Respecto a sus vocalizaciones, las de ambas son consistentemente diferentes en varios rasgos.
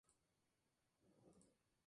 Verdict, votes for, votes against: rejected, 0, 2